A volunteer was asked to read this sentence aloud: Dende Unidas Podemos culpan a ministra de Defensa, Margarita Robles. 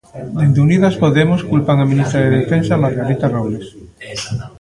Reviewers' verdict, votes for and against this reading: accepted, 2, 0